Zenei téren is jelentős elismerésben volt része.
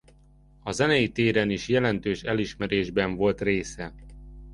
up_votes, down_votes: 0, 2